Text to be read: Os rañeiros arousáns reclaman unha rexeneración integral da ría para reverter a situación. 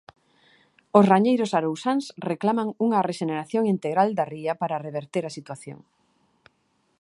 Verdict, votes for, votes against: accepted, 2, 0